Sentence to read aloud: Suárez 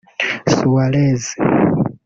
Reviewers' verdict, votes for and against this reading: rejected, 1, 2